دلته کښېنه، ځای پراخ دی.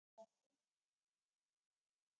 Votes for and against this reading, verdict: 1, 2, rejected